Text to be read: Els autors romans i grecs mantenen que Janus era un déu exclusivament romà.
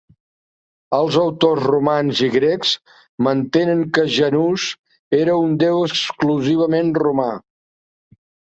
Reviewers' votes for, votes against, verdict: 1, 2, rejected